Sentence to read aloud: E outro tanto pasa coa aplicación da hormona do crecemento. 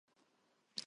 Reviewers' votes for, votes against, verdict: 0, 4, rejected